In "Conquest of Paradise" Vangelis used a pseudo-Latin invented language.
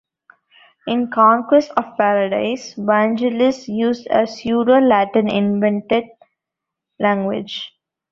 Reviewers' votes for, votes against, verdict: 2, 0, accepted